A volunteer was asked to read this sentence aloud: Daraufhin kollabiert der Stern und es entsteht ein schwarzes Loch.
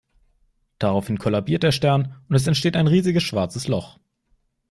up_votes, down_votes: 0, 2